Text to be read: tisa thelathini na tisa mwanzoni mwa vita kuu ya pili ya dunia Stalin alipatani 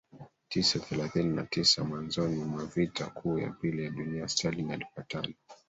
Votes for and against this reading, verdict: 1, 2, rejected